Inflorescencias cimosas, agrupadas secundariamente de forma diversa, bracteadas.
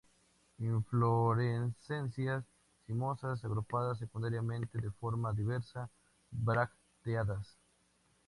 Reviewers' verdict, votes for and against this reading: rejected, 0, 2